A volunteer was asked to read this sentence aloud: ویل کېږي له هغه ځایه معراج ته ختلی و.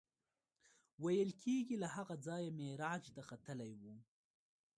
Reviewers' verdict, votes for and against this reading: accepted, 2, 1